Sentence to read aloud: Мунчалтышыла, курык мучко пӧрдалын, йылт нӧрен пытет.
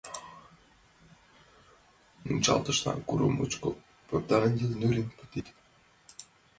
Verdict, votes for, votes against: rejected, 0, 2